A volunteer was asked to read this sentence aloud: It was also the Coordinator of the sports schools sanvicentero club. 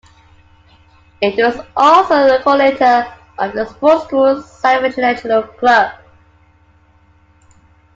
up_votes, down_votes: 0, 2